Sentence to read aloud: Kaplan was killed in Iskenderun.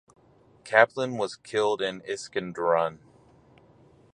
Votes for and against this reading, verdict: 4, 0, accepted